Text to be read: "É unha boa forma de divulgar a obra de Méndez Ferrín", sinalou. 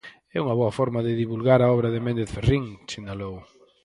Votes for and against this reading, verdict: 2, 4, rejected